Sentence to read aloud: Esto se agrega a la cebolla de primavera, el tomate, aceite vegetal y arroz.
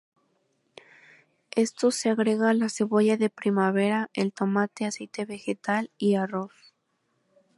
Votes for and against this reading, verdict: 2, 2, rejected